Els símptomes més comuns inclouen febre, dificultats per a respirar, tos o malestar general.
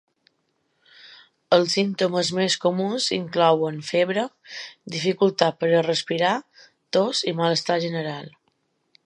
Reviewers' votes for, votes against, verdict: 1, 2, rejected